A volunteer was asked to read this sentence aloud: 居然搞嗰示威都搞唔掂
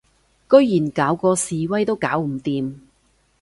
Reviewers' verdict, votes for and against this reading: accepted, 2, 0